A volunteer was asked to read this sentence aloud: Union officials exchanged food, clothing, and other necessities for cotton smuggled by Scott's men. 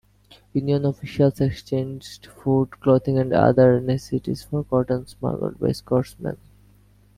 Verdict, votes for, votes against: accepted, 2, 0